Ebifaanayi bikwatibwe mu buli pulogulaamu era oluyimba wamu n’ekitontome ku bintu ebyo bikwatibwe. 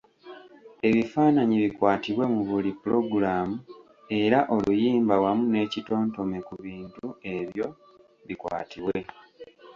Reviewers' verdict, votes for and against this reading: accepted, 2, 0